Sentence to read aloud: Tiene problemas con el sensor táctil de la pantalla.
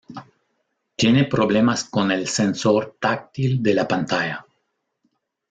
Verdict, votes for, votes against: accepted, 2, 0